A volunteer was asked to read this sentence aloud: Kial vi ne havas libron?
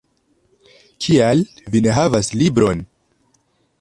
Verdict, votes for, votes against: accepted, 2, 0